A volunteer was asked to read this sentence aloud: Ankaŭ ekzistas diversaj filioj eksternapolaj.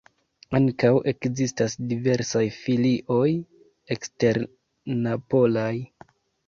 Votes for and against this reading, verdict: 1, 2, rejected